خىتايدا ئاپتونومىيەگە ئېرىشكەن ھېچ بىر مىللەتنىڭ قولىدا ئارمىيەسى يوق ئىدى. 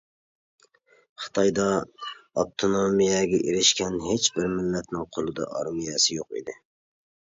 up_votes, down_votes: 2, 0